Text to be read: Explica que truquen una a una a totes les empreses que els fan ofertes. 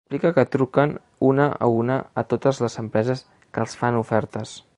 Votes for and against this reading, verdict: 1, 2, rejected